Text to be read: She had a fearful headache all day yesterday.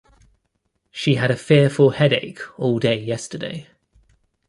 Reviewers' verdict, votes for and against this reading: rejected, 1, 2